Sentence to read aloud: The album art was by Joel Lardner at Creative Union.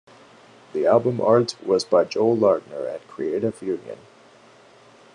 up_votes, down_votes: 2, 0